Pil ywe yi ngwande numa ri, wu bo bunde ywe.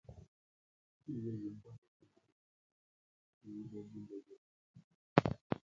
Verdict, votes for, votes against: rejected, 0, 2